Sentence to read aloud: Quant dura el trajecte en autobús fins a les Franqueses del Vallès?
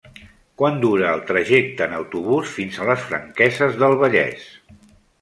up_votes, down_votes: 3, 0